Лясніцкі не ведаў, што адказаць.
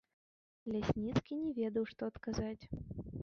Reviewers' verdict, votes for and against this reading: rejected, 0, 2